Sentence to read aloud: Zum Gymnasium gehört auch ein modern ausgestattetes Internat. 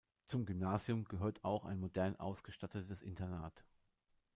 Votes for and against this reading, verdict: 2, 1, accepted